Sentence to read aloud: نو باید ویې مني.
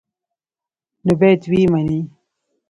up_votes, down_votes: 0, 2